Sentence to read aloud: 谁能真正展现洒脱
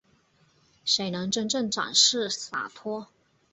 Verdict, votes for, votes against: accepted, 2, 0